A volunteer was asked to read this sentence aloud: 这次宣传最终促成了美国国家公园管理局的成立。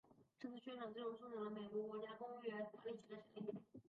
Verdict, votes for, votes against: rejected, 0, 4